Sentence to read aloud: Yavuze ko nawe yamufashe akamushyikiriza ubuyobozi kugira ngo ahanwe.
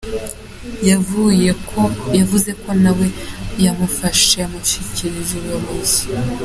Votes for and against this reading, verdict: 0, 2, rejected